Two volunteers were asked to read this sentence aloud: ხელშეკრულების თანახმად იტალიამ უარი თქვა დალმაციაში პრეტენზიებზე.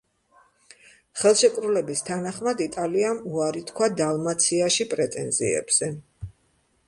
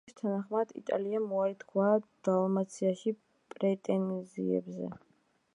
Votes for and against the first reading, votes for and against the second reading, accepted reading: 2, 0, 0, 2, first